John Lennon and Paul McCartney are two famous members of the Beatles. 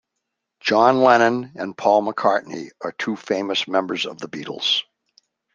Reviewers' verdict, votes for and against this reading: accepted, 2, 0